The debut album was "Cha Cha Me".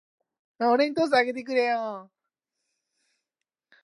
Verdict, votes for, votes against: rejected, 0, 2